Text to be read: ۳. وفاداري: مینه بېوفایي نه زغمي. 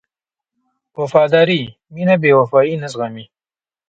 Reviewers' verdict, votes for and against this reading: rejected, 0, 2